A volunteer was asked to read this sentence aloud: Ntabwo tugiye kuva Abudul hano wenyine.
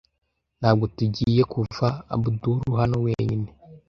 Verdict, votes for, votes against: accepted, 2, 0